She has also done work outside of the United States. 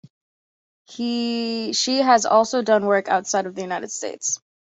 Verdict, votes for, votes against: rejected, 0, 3